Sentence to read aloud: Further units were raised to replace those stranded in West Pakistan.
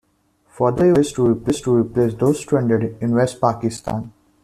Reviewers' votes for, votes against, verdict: 0, 2, rejected